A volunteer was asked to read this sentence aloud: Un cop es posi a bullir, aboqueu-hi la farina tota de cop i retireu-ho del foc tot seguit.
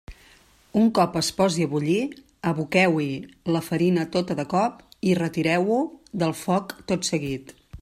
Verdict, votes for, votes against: rejected, 0, 2